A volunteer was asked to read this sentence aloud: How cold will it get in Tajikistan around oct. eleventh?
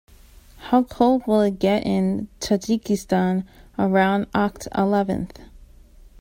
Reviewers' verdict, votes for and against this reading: accepted, 2, 0